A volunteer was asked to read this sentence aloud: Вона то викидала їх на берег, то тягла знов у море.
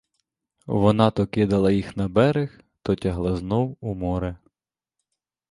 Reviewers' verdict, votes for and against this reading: rejected, 0, 2